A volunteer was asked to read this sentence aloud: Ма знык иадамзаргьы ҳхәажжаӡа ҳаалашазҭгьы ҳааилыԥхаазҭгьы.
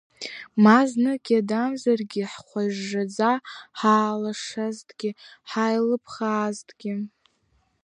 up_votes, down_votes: 2, 0